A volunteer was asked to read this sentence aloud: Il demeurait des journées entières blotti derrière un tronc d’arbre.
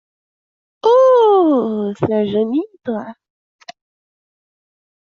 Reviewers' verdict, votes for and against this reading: rejected, 0, 2